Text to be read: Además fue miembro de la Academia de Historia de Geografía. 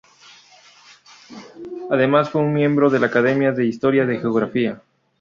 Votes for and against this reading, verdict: 2, 2, rejected